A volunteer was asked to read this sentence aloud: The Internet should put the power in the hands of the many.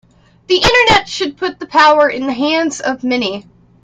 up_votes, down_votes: 0, 2